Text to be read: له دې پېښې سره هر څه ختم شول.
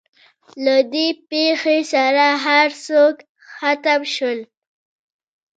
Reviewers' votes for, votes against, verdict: 1, 2, rejected